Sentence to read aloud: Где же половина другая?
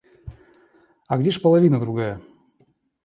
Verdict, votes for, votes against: rejected, 0, 2